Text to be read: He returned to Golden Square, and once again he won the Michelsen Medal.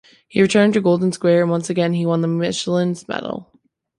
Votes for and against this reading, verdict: 1, 2, rejected